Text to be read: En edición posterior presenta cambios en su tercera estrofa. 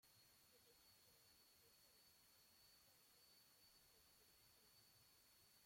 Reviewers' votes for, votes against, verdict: 0, 2, rejected